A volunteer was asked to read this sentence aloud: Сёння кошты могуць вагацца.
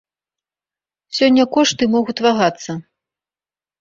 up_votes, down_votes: 1, 2